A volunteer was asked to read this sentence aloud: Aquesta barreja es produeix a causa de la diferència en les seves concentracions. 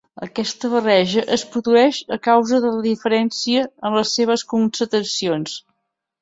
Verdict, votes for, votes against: rejected, 1, 2